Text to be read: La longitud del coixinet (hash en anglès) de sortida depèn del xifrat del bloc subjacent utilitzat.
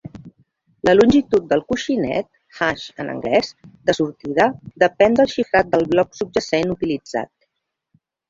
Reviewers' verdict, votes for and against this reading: accepted, 2, 0